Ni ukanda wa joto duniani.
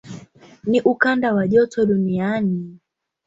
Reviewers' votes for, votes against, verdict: 2, 0, accepted